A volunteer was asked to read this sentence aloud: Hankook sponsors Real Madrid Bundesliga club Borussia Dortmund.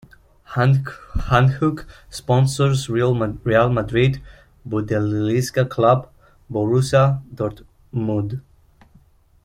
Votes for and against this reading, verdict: 0, 2, rejected